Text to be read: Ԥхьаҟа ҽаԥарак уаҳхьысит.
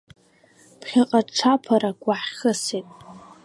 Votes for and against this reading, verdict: 2, 1, accepted